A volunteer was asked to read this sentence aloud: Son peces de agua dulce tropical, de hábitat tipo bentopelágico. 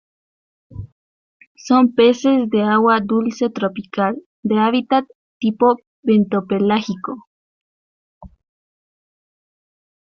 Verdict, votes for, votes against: accepted, 2, 0